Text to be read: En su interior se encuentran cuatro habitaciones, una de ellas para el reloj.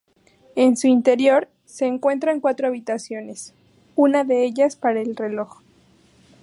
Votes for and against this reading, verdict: 2, 0, accepted